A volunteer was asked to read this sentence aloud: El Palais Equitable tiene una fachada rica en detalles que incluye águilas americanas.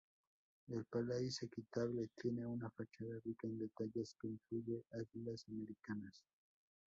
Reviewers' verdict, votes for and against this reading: rejected, 0, 2